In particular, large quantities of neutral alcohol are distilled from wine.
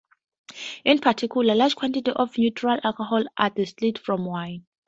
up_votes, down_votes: 2, 0